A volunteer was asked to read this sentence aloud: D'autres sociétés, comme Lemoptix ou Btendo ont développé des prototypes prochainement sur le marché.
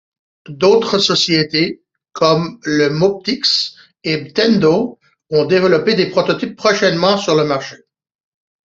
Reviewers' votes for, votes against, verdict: 0, 2, rejected